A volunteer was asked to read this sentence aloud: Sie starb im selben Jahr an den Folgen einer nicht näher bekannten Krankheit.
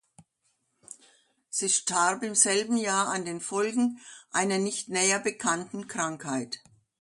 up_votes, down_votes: 2, 0